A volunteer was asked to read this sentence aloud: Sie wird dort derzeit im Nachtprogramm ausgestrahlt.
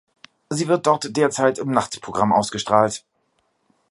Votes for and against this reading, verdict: 2, 0, accepted